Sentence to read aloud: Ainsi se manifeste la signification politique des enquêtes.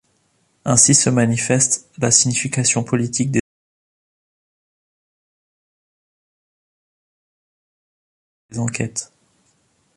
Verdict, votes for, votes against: rejected, 0, 2